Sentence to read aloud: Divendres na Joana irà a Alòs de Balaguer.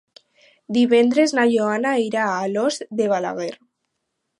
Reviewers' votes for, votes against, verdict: 4, 0, accepted